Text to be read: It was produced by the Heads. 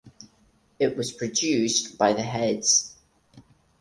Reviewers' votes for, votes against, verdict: 4, 0, accepted